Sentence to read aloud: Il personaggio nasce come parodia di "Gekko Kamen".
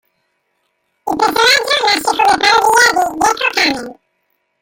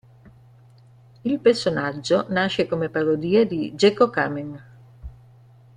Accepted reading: second